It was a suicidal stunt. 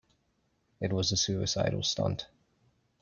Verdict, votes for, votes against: accepted, 2, 0